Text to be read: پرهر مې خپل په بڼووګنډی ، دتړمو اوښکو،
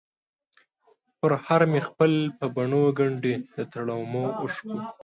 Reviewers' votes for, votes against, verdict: 1, 2, rejected